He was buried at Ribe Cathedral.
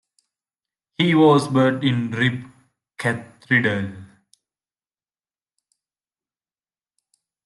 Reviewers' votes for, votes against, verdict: 0, 2, rejected